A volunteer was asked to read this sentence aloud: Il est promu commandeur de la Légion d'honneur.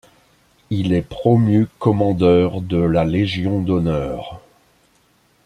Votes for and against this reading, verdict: 2, 0, accepted